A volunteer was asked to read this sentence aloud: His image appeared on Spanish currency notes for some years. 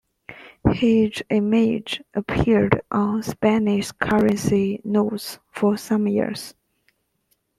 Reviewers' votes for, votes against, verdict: 2, 0, accepted